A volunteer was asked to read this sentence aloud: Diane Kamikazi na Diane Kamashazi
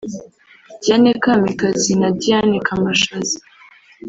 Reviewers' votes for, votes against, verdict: 2, 1, accepted